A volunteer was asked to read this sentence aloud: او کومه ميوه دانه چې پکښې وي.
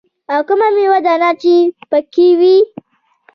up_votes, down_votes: 2, 0